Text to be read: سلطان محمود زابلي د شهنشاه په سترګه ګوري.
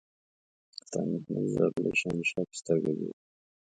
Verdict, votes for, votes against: rejected, 1, 2